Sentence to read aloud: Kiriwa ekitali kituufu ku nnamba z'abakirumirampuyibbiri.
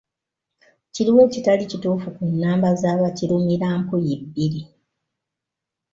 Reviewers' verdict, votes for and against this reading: accepted, 3, 0